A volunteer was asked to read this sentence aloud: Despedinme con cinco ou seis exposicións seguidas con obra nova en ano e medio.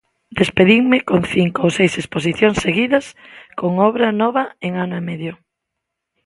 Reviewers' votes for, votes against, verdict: 2, 0, accepted